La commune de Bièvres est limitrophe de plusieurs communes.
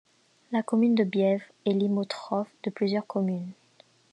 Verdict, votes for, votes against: accepted, 2, 0